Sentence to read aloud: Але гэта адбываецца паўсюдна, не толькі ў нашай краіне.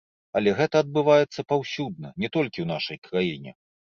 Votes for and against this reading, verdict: 2, 0, accepted